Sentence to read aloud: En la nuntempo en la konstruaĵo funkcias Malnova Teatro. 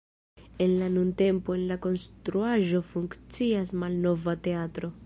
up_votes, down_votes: 2, 0